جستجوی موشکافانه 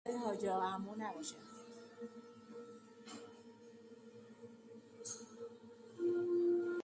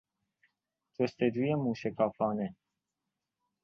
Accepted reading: second